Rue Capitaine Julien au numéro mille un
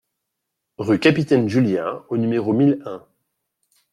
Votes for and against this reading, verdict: 2, 0, accepted